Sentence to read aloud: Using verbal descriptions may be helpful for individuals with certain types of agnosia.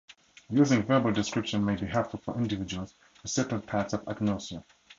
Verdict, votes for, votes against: accepted, 4, 2